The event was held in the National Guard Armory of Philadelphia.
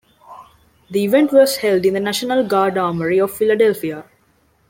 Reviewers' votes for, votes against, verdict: 2, 0, accepted